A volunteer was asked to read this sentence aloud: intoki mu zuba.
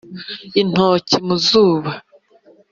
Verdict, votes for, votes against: accepted, 2, 0